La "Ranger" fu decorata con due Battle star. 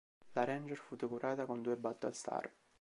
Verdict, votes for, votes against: rejected, 1, 2